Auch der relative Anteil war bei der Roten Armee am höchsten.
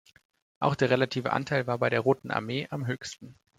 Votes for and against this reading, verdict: 2, 0, accepted